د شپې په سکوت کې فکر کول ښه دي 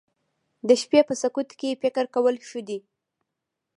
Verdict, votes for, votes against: rejected, 1, 2